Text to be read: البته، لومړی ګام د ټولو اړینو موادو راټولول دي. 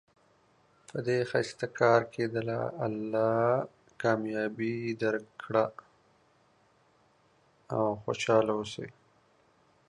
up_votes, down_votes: 1, 2